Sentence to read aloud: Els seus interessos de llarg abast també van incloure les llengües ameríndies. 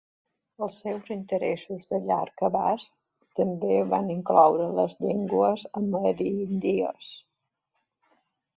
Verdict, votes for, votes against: accepted, 2, 1